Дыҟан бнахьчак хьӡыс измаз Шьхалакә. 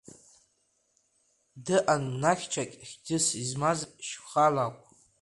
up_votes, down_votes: 1, 2